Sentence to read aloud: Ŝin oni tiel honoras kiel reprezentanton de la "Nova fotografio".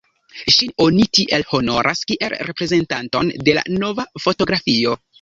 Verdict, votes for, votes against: accepted, 2, 0